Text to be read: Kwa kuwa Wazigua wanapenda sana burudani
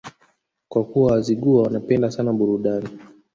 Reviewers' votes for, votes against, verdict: 1, 2, rejected